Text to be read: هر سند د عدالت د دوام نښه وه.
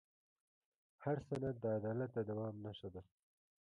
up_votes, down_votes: 0, 2